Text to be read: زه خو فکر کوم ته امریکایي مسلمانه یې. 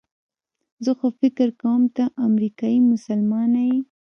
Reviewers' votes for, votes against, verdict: 1, 2, rejected